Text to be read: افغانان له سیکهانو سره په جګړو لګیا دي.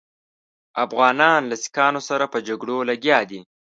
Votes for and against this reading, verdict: 2, 0, accepted